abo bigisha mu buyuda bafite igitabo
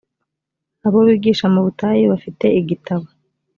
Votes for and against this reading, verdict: 0, 2, rejected